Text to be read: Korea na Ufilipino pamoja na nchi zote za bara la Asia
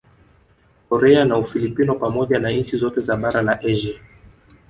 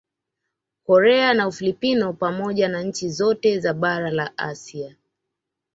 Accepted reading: second